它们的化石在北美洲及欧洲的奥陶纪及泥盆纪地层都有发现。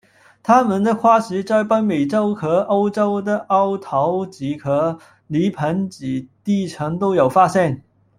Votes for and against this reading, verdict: 1, 2, rejected